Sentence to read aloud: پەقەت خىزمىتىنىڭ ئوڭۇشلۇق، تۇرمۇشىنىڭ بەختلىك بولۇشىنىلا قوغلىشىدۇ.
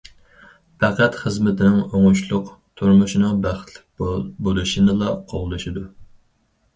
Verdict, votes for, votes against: rejected, 0, 4